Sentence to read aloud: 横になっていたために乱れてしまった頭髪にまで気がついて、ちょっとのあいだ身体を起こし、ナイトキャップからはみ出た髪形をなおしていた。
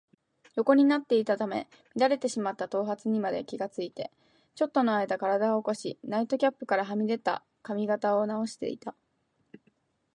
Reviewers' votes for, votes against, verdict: 4, 2, accepted